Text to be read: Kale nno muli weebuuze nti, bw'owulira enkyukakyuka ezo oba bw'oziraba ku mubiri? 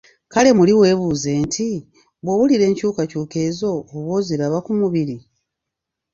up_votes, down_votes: 1, 2